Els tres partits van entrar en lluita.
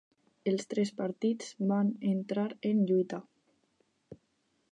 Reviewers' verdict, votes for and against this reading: accepted, 4, 0